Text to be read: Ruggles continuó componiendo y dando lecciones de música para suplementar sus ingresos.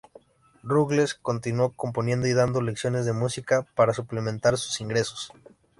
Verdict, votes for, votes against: accepted, 2, 0